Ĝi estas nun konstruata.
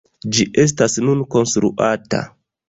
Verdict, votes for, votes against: accepted, 2, 0